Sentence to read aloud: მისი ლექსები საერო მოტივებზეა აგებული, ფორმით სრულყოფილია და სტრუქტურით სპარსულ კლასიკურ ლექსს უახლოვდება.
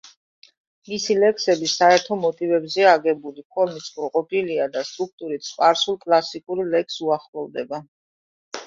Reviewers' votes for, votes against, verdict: 2, 1, accepted